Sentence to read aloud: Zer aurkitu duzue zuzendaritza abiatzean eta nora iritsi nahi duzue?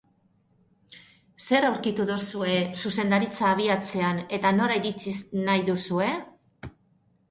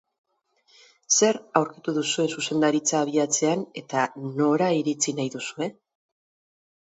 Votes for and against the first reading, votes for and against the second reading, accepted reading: 0, 2, 4, 0, second